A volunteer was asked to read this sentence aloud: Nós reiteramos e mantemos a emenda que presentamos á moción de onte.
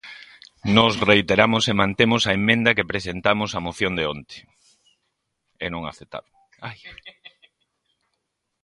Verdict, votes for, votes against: rejected, 1, 2